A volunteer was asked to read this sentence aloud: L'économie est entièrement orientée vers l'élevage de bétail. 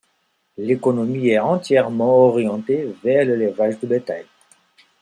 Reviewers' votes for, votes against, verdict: 2, 0, accepted